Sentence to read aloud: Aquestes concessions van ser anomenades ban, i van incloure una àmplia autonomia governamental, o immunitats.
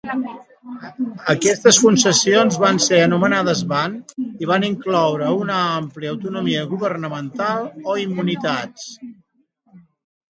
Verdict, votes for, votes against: rejected, 0, 2